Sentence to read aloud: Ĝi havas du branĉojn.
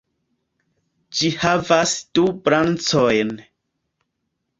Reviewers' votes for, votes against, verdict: 0, 2, rejected